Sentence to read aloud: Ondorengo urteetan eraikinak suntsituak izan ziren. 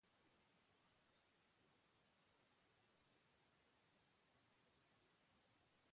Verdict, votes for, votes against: rejected, 0, 4